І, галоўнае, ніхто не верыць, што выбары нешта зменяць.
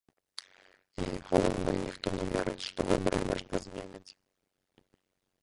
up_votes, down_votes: 0, 2